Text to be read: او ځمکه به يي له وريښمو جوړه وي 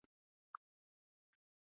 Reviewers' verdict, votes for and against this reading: rejected, 1, 2